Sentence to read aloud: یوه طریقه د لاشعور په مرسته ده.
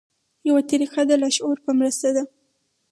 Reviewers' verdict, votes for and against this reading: rejected, 2, 2